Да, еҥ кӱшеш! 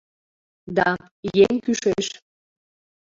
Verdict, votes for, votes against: accepted, 2, 0